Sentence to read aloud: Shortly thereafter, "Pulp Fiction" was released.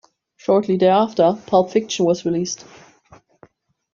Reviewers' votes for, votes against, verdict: 1, 2, rejected